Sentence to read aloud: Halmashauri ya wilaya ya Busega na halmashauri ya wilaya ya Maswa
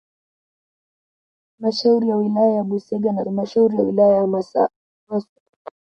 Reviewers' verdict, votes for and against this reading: rejected, 0, 2